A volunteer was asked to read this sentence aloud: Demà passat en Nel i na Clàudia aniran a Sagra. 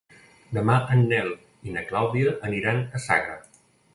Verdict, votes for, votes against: rejected, 1, 2